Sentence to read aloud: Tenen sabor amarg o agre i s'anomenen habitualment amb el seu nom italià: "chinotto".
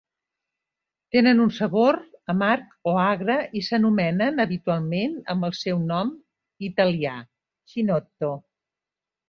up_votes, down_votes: 0, 2